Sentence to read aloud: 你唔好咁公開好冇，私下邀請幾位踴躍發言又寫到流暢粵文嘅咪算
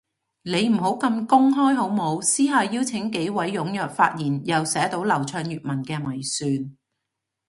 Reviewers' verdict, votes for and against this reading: accepted, 2, 0